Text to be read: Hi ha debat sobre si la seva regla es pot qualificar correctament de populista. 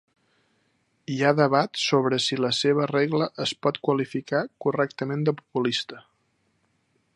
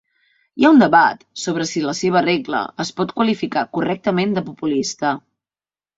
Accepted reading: first